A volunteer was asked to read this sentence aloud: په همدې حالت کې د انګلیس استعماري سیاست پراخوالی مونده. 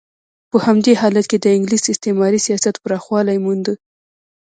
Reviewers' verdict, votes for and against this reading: rejected, 0, 2